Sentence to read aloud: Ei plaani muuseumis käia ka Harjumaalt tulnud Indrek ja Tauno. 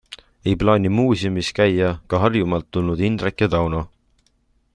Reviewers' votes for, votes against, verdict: 2, 0, accepted